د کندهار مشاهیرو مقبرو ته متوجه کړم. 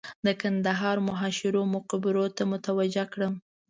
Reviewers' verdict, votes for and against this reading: rejected, 0, 2